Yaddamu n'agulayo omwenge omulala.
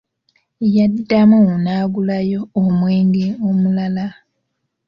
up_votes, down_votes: 1, 2